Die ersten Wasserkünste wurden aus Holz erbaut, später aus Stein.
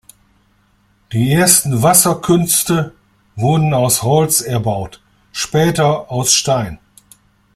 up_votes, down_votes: 2, 0